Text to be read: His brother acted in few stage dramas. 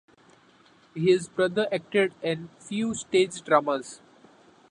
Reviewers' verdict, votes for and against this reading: accepted, 2, 1